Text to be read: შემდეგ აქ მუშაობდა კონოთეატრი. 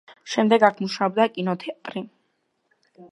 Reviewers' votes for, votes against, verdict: 0, 2, rejected